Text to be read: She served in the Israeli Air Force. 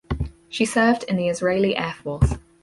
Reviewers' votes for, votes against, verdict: 4, 0, accepted